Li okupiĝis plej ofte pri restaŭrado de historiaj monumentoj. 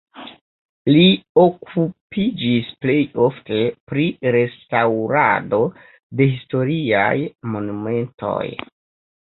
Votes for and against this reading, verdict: 0, 2, rejected